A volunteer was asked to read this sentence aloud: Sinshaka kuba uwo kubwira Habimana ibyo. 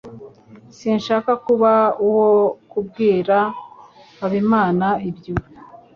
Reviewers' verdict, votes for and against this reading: accepted, 2, 0